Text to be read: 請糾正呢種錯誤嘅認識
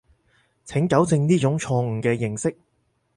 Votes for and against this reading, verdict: 4, 0, accepted